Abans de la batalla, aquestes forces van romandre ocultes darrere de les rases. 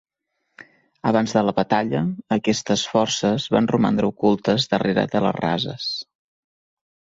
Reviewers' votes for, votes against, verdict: 2, 0, accepted